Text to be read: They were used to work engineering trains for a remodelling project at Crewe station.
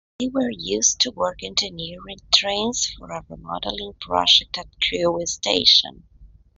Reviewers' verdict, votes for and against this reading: rejected, 0, 2